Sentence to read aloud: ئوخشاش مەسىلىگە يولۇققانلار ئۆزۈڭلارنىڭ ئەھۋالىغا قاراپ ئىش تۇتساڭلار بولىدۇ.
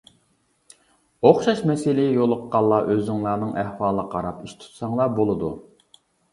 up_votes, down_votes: 2, 0